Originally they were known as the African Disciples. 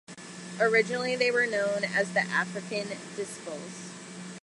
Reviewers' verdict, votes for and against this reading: rejected, 1, 2